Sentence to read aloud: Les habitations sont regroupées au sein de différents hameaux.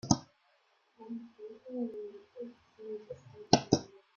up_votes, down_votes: 0, 2